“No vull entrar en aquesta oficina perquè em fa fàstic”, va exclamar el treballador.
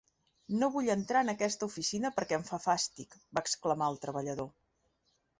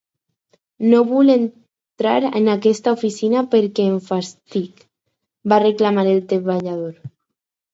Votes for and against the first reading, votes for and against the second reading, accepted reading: 3, 0, 2, 2, first